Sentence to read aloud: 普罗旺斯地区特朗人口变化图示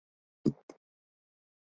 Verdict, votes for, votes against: rejected, 1, 3